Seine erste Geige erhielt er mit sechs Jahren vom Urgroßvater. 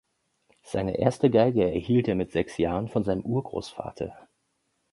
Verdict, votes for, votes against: rejected, 0, 2